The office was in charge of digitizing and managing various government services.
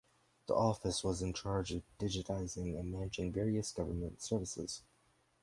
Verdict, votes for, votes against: rejected, 0, 4